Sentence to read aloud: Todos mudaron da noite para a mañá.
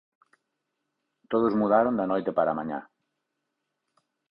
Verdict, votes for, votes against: accepted, 4, 0